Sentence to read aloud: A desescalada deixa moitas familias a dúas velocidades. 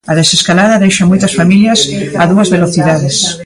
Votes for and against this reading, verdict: 1, 2, rejected